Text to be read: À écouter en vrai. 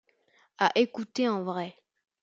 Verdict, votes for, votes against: accepted, 2, 0